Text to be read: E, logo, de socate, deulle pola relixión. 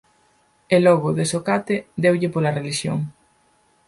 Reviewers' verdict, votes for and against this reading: accepted, 4, 0